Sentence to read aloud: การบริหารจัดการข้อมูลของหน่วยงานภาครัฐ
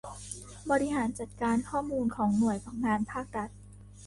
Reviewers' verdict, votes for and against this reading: rejected, 1, 3